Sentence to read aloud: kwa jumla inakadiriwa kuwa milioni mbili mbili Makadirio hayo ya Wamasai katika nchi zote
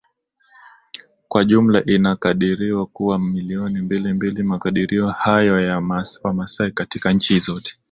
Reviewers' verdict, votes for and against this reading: accepted, 2, 0